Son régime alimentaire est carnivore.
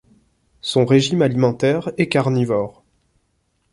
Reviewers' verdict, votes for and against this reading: accepted, 2, 0